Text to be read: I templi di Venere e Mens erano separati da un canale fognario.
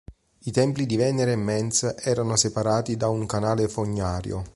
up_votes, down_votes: 3, 0